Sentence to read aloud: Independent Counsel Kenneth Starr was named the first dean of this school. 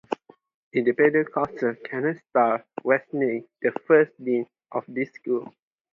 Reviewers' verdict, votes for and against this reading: accepted, 4, 0